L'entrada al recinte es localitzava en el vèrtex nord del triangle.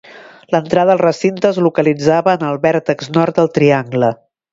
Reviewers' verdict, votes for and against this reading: accepted, 2, 0